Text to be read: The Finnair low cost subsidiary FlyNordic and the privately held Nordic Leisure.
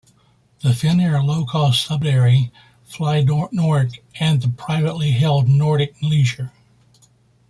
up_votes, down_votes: 0, 2